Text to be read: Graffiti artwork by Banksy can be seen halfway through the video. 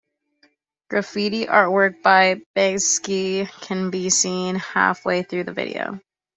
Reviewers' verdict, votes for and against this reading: accepted, 2, 0